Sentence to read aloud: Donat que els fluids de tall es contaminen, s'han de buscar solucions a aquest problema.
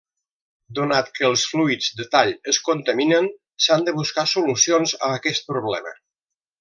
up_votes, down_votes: 0, 2